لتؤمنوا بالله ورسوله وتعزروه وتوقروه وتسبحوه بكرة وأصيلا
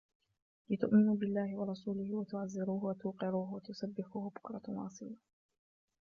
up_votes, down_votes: 1, 2